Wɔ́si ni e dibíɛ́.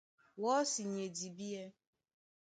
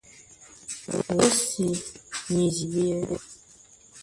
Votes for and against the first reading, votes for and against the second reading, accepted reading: 3, 0, 0, 2, first